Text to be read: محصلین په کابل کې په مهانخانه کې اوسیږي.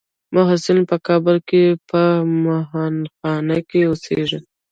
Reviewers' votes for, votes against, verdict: 3, 0, accepted